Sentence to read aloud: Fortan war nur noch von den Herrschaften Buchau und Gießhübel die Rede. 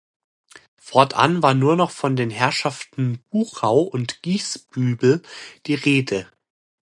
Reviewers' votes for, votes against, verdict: 2, 0, accepted